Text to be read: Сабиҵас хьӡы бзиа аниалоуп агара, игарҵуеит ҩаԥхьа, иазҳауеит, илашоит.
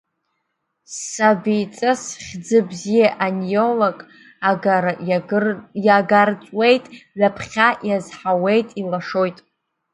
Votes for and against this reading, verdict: 0, 2, rejected